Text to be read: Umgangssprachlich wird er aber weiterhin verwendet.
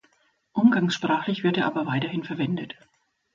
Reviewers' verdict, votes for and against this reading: accepted, 2, 0